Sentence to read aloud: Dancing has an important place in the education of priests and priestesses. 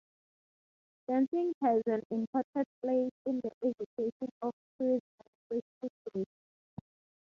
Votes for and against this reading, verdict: 3, 3, rejected